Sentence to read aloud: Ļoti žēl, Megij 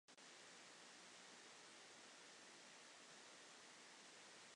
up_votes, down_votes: 0, 2